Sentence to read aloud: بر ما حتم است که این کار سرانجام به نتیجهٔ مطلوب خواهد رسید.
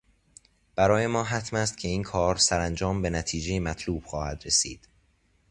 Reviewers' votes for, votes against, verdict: 0, 2, rejected